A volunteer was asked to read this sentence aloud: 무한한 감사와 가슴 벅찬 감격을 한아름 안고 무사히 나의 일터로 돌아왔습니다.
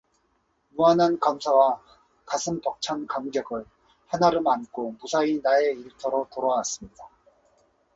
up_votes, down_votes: 2, 0